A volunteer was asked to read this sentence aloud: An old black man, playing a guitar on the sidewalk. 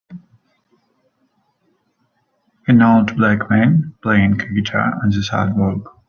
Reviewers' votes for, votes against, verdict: 4, 0, accepted